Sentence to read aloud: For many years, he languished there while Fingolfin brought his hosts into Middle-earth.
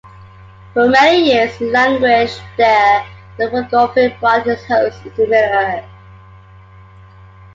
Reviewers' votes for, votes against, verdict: 2, 1, accepted